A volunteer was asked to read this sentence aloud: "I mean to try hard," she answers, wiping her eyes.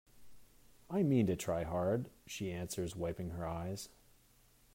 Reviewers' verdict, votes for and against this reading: accepted, 2, 0